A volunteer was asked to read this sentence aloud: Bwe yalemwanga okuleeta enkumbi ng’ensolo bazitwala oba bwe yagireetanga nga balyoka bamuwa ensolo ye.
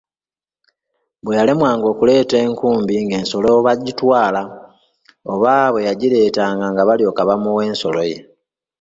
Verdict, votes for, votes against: accepted, 2, 1